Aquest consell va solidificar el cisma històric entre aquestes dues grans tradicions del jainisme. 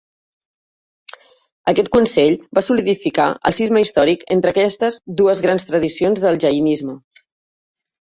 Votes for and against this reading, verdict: 3, 1, accepted